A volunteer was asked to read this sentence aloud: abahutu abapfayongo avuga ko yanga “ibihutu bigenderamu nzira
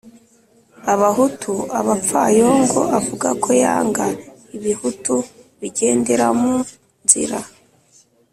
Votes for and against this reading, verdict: 2, 0, accepted